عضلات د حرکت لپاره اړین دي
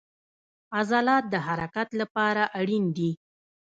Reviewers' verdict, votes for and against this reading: accepted, 2, 0